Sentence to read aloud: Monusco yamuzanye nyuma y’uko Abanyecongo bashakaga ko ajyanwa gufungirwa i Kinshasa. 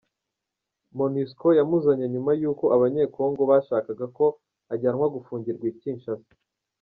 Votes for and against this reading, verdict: 1, 2, rejected